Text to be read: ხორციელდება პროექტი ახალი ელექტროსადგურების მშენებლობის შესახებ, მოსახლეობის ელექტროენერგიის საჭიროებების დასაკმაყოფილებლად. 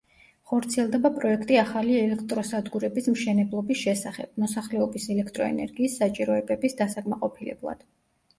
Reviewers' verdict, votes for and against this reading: accepted, 2, 0